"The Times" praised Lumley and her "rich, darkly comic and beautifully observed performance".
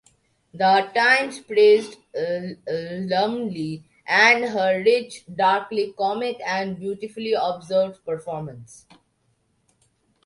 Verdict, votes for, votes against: rejected, 0, 2